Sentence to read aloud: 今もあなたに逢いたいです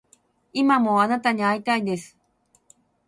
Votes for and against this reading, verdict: 6, 0, accepted